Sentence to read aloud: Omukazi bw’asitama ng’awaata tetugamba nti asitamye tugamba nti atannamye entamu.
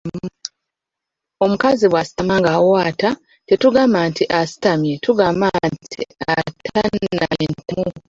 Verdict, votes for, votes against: rejected, 0, 2